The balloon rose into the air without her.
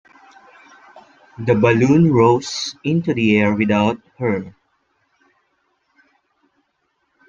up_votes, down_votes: 2, 0